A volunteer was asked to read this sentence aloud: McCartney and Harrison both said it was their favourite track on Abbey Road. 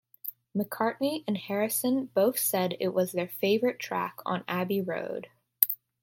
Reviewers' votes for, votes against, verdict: 2, 0, accepted